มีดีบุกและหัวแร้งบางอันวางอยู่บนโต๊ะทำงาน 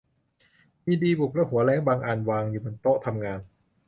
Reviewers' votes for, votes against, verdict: 2, 0, accepted